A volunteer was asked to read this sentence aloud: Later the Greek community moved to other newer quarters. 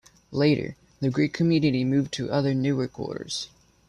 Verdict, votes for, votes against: rejected, 1, 2